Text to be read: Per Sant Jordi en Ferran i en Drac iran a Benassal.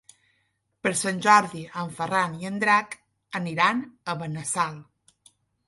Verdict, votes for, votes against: rejected, 0, 3